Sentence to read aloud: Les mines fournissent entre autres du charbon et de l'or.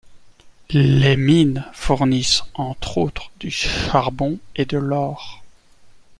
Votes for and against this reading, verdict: 2, 0, accepted